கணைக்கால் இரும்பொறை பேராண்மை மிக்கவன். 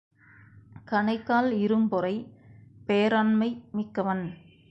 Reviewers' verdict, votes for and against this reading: accepted, 4, 0